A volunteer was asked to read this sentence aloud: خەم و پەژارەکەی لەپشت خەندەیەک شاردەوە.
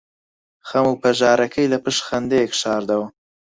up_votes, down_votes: 4, 2